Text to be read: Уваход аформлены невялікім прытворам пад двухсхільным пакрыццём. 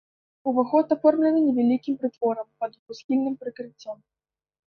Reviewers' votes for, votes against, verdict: 1, 2, rejected